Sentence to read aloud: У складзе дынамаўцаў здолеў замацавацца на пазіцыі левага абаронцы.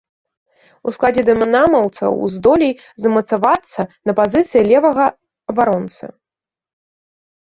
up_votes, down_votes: 1, 2